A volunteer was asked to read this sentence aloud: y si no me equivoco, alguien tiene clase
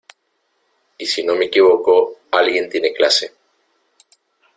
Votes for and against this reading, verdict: 2, 0, accepted